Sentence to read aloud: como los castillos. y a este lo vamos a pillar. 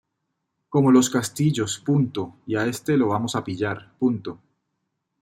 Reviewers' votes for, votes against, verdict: 1, 2, rejected